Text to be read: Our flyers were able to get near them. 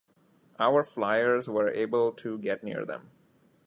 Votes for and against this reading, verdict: 2, 0, accepted